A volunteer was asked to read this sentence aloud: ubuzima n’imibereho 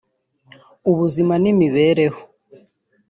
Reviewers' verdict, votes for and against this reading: accepted, 2, 0